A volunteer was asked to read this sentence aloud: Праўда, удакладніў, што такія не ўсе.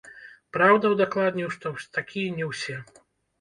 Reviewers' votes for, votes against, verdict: 0, 2, rejected